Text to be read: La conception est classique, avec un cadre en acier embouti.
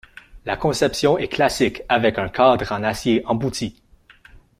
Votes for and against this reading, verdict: 2, 0, accepted